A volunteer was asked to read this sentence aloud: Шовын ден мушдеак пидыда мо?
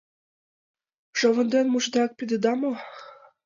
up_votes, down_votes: 2, 6